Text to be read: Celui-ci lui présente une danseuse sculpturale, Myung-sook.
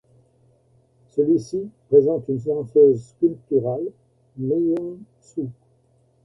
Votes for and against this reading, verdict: 0, 2, rejected